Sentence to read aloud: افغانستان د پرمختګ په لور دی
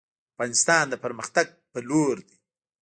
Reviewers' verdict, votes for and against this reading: rejected, 1, 2